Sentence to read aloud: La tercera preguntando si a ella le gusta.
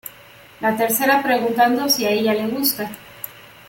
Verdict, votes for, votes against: accepted, 2, 0